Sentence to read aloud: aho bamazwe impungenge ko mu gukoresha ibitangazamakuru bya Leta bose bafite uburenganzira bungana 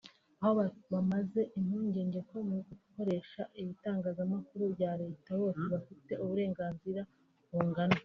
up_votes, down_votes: 1, 2